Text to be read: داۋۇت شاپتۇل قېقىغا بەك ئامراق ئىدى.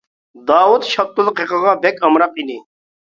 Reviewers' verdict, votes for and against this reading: accepted, 2, 1